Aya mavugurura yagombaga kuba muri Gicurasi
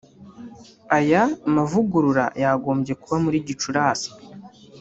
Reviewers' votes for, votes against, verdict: 1, 2, rejected